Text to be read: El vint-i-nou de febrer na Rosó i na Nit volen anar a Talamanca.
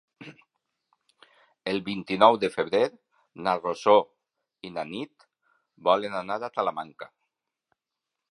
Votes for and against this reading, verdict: 3, 0, accepted